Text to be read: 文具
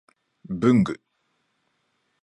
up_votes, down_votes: 3, 0